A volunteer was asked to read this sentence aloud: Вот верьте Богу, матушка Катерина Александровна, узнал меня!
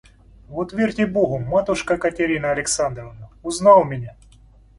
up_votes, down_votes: 2, 0